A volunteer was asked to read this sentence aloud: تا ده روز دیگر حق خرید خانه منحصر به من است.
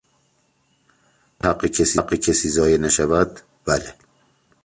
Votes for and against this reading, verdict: 0, 3, rejected